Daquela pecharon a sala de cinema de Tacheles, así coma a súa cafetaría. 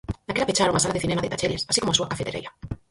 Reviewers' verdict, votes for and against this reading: rejected, 0, 4